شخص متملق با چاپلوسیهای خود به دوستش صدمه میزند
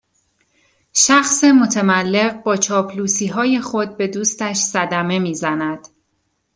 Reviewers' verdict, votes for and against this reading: accepted, 2, 0